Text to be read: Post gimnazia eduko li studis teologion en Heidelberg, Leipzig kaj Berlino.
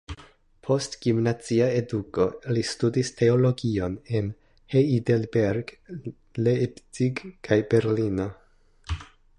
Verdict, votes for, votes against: rejected, 1, 2